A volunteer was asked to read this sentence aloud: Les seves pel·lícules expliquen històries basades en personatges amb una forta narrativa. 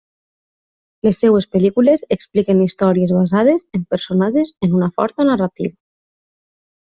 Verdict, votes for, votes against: rejected, 0, 2